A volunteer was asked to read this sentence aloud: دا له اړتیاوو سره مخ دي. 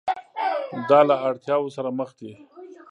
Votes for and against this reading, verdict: 0, 2, rejected